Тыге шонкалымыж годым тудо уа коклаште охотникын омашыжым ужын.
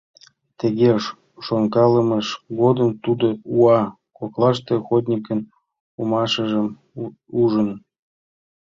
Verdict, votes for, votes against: accepted, 2, 0